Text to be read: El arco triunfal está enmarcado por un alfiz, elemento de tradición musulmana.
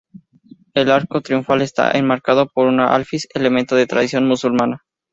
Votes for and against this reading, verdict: 2, 0, accepted